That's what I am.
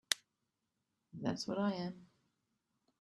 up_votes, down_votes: 2, 0